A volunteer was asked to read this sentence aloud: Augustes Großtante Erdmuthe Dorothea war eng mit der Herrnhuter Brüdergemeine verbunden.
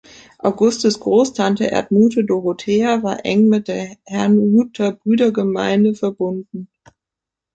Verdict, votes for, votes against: accepted, 2, 0